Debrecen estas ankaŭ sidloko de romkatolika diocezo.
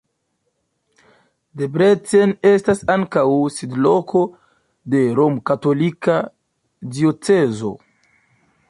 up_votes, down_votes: 0, 2